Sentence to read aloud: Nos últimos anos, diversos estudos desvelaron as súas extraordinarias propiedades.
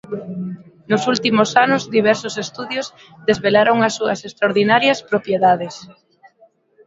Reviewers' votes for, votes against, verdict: 0, 2, rejected